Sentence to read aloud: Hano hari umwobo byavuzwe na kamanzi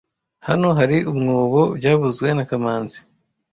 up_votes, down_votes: 2, 0